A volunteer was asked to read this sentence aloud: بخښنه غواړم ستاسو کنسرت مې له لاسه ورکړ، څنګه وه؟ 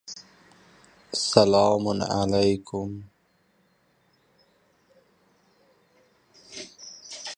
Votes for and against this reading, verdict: 0, 2, rejected